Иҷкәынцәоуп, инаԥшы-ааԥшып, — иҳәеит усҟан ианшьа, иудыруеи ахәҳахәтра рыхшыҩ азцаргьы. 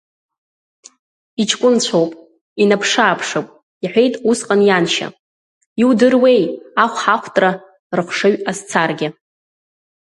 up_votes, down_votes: 2, 0